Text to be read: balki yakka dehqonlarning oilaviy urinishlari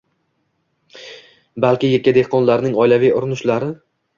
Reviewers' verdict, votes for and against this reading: accepted, 2, 0